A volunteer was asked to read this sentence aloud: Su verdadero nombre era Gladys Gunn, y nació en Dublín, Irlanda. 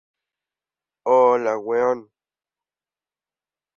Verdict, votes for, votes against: rejected, 0, 2